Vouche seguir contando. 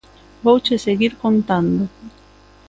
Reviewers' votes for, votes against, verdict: 3, 0, accepted